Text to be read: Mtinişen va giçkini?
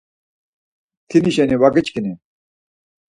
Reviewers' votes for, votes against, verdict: 4, 2, accepted